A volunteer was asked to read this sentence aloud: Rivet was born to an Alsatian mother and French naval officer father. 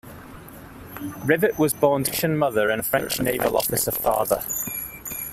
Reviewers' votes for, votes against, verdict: 1, 2, rejected